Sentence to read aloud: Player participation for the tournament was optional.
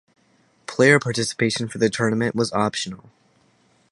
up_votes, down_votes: 4, 0